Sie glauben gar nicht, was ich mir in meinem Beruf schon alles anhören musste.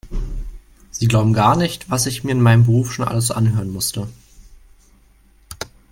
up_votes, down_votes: 4, 0